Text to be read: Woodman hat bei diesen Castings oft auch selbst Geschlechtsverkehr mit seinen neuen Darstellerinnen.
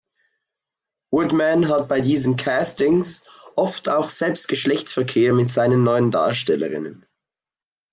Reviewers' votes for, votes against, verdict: 2, 0, accepted